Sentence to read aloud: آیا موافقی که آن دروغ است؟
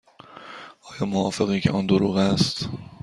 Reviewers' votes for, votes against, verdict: 2, 0, accepted